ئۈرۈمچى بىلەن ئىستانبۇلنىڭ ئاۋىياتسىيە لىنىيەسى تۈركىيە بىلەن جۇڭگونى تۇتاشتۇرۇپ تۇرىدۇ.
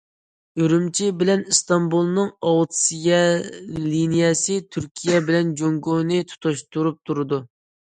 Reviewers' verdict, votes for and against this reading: rejected, 0, 2